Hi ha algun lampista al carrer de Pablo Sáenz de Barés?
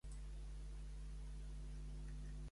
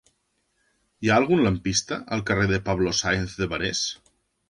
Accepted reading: second